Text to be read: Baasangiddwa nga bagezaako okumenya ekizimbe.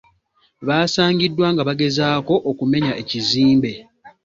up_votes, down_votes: 2, 0